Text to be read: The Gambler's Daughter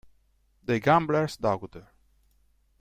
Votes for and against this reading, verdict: 1, 2, rejected